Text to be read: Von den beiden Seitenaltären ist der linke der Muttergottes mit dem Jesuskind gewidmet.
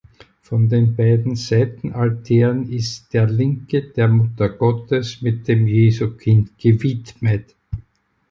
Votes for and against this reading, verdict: 2, 4, rejected